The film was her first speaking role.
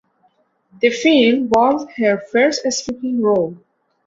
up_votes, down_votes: 2, 0